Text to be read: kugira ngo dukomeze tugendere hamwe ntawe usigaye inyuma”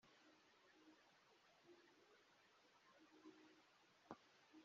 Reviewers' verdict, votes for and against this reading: rejected, 0, 2